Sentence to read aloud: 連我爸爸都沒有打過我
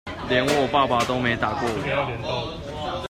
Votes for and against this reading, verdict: 2, 0, accepted